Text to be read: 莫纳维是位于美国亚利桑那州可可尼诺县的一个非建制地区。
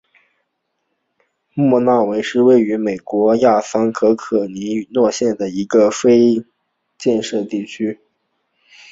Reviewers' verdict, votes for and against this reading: rejected, 0, 2